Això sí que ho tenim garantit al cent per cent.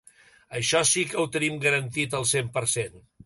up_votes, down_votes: 2, 1